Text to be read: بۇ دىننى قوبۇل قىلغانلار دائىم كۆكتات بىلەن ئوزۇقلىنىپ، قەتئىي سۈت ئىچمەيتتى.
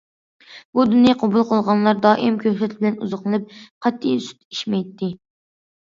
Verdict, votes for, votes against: accepted, 2, 0